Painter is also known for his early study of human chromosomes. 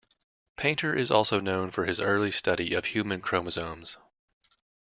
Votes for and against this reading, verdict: 2, 0, accepted